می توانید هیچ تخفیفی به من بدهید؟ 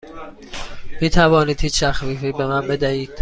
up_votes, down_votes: 2, 0